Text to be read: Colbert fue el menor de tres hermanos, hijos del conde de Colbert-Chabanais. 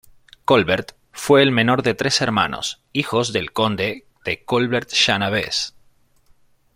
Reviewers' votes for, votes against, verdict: 1, 2, rejected